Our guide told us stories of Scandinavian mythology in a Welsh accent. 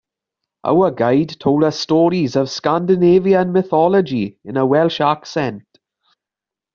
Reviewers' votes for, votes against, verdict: 2, 1, accepted